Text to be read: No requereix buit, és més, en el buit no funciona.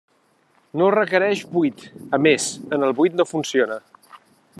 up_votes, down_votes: 1, 2